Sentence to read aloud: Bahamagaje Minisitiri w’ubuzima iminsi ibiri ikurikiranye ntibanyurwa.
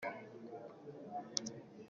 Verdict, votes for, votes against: rejected, 0, 2